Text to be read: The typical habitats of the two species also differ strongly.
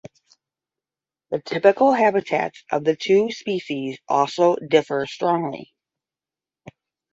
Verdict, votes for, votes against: accepted, 10, 0